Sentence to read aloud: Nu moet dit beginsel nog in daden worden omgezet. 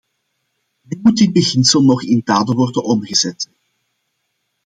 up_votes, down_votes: 0, 2